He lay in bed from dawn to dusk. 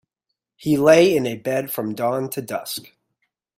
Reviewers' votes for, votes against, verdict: 1, 2, rejected